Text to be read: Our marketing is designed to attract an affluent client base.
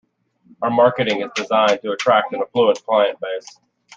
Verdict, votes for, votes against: rejected, 0, 2